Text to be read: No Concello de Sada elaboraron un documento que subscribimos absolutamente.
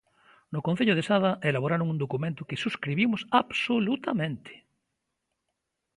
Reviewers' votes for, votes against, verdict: 2, 0, accepted